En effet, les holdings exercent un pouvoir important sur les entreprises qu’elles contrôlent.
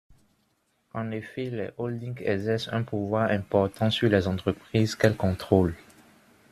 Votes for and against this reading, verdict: 2, 1, accepted